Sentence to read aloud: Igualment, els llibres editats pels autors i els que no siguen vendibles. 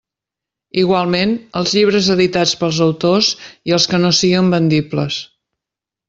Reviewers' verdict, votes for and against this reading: accepted, 6, 1